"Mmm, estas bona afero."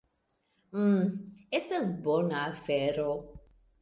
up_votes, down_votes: 2, 0